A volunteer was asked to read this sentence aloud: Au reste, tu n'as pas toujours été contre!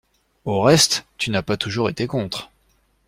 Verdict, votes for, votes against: accepted, 2, 0